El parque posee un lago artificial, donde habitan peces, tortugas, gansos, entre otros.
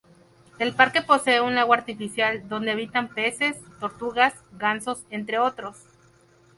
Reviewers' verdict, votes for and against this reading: accepted, 2, 0